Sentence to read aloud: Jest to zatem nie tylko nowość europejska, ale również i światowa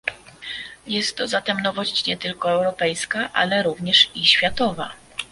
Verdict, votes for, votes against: rejected, 0, 2